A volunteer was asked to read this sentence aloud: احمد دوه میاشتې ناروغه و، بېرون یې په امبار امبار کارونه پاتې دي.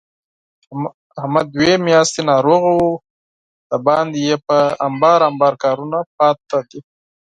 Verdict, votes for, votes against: rejected, 2, 4